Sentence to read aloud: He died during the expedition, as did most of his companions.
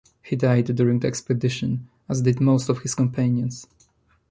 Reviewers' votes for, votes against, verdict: 2, 0, accepted